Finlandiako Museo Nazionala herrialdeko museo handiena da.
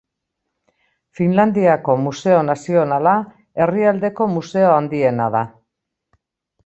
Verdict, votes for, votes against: accepted, 2, 0